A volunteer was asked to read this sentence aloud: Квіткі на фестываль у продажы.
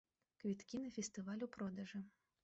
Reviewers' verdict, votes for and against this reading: rejected, 0, 2